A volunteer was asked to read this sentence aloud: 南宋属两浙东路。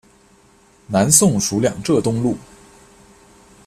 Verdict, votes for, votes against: accepted, 2, 0